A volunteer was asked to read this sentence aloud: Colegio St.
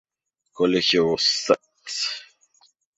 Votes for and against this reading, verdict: 0, 2, rejected